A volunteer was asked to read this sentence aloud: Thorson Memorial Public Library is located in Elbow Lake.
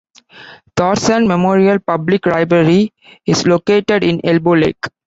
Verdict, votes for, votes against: rejected, 0, 3